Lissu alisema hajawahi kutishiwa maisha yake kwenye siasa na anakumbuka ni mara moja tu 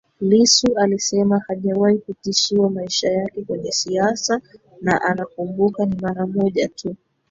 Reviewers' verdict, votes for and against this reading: rejected, 1, 2